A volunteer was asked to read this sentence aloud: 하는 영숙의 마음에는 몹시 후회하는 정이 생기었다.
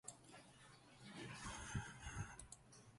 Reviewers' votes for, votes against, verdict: 0, 2, rejected